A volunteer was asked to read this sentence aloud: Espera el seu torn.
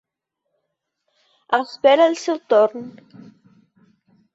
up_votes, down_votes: 3, 0